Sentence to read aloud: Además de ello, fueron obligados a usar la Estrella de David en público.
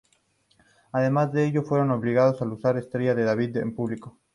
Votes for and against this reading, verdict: 0, 2, rejected